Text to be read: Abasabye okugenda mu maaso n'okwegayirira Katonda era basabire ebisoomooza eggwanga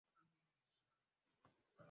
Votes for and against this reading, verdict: 0, 2, rejected